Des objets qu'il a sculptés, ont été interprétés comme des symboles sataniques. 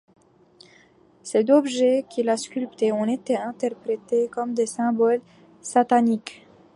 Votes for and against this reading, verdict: 1, 2, rejected